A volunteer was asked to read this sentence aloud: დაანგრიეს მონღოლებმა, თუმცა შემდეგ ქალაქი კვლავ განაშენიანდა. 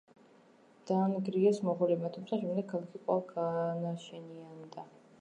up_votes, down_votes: 2, 1